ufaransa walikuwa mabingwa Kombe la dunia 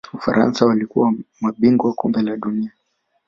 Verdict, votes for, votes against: accepted, 2, 1